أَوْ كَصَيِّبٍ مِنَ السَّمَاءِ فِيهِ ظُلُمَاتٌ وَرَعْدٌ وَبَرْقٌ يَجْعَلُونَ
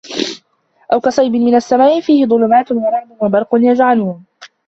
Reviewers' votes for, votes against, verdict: 0, 2, rejected